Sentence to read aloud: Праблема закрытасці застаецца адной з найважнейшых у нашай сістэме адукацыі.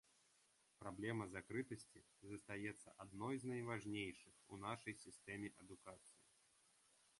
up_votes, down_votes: 3, 0